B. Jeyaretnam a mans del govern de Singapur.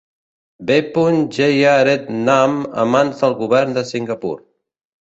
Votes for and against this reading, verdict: 0, 2, rejected